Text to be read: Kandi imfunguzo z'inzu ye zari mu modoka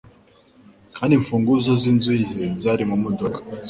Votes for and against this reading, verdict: 3, 0, accepted